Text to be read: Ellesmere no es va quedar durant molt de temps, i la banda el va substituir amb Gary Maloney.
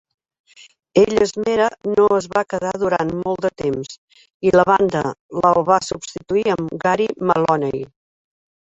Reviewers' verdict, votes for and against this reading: rejected, 1, 2